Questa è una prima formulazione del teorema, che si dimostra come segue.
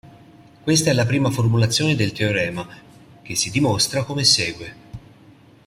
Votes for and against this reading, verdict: 0, 2, rejected